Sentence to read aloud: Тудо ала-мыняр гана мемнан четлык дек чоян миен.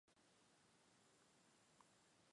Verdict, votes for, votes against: rejected, 0, 2